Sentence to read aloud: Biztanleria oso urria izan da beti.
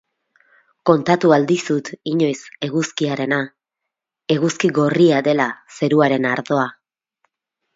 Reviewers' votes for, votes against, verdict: 2, 2, rejected